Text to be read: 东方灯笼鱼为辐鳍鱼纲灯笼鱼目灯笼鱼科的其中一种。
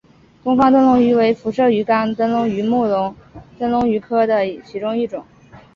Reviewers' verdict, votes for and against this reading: accepted, 2, 0